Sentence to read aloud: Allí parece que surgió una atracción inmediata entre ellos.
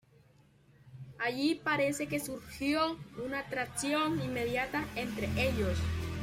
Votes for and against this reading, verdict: 2, 0, accepted